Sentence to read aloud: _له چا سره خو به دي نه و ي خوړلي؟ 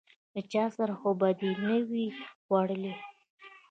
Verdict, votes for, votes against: rejected, 1, 2